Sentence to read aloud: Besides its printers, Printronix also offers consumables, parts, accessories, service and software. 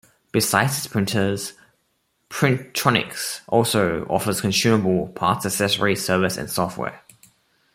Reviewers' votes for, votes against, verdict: 1, 2, rejected